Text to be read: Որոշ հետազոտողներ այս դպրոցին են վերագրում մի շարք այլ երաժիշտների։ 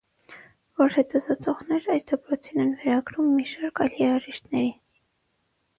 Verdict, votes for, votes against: rejected, 3, 6